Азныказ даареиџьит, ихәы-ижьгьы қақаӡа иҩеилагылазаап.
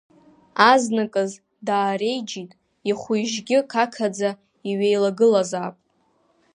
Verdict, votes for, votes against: accepted, 2, 0